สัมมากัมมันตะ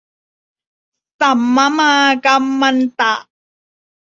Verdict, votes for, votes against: rejected, 0, 2